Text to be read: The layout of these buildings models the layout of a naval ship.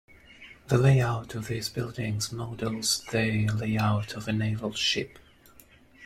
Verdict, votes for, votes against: rejected, 1, 2